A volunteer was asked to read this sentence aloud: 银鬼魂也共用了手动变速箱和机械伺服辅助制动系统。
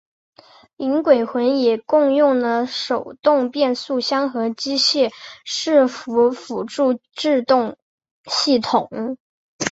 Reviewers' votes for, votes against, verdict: 2, 0, accepted